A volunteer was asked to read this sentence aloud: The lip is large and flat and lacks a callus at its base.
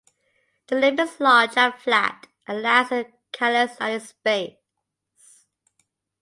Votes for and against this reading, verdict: 1, 2, rejected